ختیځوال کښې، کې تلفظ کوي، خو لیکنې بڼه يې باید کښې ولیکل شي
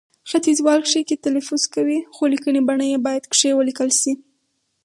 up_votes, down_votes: 4, 0